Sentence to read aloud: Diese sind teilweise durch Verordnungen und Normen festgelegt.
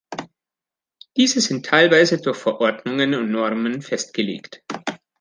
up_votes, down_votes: 2, 0